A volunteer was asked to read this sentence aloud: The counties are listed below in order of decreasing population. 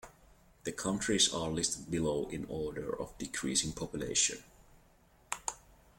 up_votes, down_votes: 2, 1